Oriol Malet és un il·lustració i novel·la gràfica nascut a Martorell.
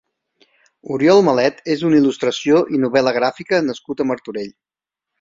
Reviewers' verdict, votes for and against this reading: accepted, 2, 0